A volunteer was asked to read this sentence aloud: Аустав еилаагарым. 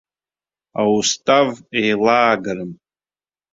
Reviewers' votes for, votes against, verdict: 1, 2, rejected